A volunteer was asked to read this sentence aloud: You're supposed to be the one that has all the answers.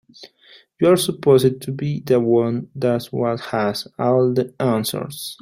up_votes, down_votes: 0, 2